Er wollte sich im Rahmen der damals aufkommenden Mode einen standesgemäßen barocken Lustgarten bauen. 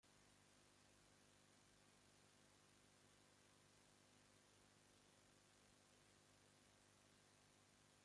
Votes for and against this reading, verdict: 0, 2, rejected